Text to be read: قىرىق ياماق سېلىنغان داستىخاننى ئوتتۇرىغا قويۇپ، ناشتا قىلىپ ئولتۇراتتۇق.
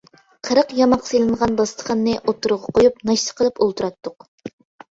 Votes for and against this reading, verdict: 2, 0, accepted